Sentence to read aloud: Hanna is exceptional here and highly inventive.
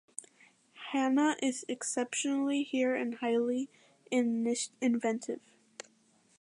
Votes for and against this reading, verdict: 0, 2, rejected